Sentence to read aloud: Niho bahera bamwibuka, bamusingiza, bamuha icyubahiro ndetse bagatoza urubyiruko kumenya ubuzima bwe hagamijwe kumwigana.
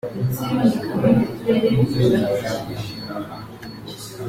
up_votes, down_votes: 0, 2